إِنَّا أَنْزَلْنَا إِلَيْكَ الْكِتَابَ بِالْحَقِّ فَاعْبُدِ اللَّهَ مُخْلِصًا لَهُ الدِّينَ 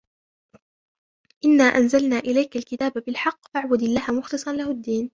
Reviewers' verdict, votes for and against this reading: rejected, 1, 2